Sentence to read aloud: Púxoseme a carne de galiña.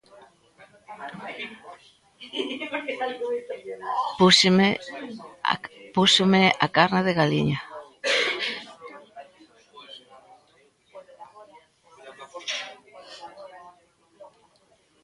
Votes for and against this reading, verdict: 0, 2, rejected